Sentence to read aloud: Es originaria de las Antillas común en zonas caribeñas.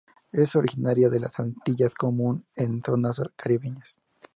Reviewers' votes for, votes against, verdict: 0, 2, rejected